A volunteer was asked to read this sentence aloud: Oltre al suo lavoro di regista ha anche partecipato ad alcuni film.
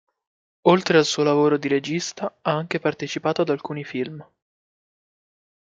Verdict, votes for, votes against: accepted, 2, 0